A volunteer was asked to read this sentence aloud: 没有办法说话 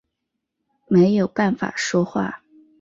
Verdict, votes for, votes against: accepted, 9, 0